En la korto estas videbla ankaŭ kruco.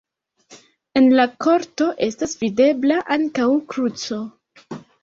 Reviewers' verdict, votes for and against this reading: accepted, 2, 1